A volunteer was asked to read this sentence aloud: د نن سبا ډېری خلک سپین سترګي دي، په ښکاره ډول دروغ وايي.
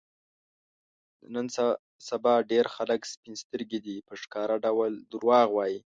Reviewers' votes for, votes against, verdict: 1, 2, rejected